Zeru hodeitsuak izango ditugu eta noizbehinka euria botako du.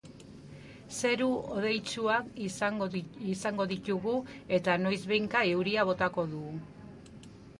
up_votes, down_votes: 1, 2